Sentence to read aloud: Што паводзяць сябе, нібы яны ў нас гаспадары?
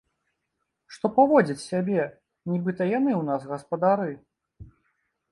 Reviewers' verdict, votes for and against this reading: rejected, 1, 2